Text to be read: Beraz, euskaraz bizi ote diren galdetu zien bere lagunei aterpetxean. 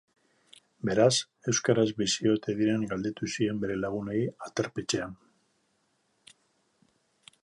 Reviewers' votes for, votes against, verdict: 2, 0, accepted